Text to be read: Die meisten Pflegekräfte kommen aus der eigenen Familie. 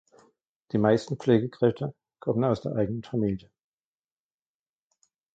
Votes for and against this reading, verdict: 0, 2, rejected